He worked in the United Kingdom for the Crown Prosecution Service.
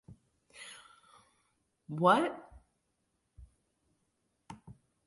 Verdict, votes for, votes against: rejected, 0, 2